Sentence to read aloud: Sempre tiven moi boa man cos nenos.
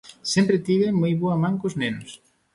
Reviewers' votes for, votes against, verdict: 3, 0, accepted